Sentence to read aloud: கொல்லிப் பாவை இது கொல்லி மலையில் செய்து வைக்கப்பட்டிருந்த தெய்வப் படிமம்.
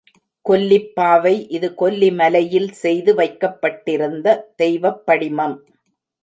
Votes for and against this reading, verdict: 2, 0, accepted